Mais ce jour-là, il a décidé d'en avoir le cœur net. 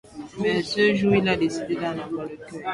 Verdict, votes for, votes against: rejected, 0, 2